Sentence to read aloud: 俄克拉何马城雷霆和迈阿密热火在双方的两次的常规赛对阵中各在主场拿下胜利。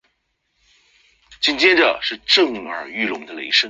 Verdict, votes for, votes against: rejected, 0, 2